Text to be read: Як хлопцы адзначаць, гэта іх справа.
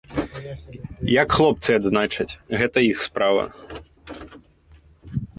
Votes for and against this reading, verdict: 2, 0, accepted